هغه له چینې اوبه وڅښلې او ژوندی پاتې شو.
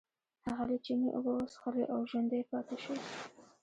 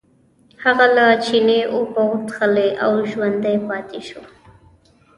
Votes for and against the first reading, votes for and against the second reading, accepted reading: 1, 2, 2, 1, second